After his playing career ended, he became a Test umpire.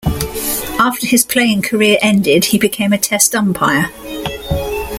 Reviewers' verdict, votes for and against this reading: accepted, 2, 0